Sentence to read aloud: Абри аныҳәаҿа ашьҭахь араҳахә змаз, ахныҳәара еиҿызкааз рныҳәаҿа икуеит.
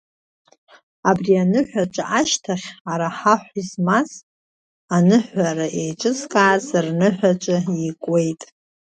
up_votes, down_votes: 2, 0